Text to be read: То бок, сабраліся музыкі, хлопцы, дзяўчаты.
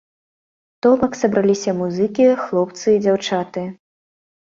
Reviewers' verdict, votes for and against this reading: accepted, 2, 1